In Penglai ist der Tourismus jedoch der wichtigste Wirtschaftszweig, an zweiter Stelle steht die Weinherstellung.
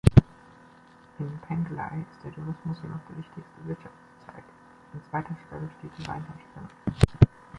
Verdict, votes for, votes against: accepted, 2, 0